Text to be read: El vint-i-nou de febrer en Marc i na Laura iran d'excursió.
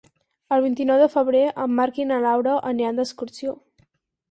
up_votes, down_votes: 0, 4